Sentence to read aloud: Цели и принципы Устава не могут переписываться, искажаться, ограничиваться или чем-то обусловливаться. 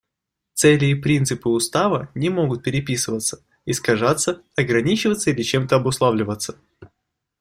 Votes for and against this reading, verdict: 2, 0, accepted